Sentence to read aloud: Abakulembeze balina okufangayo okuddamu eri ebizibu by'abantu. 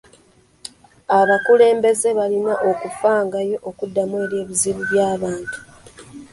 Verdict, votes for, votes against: accepted, 2, 0